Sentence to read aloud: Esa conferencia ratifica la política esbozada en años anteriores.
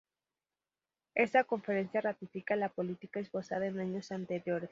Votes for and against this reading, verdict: 2, 0, accepted